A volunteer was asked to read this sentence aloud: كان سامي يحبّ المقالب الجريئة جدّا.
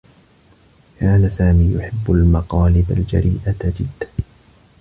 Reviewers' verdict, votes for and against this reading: accepted, 2, 0